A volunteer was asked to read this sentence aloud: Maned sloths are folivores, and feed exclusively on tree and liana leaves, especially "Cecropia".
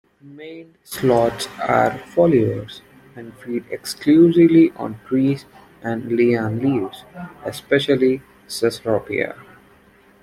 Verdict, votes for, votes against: rejected, 0, 2